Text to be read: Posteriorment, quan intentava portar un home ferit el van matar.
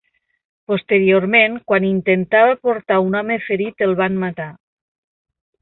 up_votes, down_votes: 2, 0